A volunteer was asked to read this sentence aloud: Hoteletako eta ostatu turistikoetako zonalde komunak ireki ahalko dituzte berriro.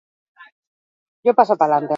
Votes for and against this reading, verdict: 0, 2, rejected